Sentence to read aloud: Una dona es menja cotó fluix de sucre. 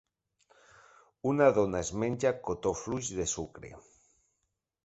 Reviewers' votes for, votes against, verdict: 3, 0, accepted